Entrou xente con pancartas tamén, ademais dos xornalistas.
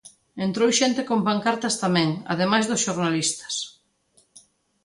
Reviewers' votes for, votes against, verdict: 3, 0, accepted